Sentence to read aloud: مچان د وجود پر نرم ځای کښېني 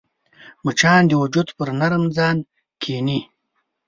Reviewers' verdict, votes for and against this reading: rejected, 1, 2